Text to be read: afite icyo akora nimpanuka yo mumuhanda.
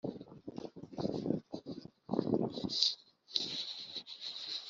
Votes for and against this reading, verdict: 0, 2, rejected